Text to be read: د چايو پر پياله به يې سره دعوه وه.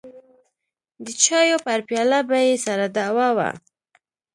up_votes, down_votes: 2, 0